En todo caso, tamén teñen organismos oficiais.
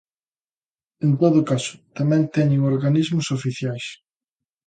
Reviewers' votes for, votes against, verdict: 2, 0, accepted